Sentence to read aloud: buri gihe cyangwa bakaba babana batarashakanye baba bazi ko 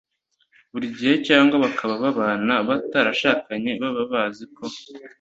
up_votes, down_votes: 2, 0